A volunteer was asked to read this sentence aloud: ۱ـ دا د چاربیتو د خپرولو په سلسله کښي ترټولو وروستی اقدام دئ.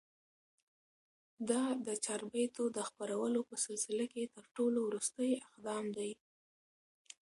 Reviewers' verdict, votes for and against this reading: rejected, 0, 2